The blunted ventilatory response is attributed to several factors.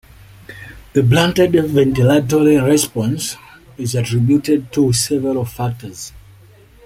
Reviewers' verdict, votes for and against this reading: accepted, 2, 0